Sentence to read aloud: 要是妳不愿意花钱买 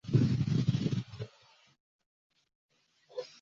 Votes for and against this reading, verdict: 0, 2, rejected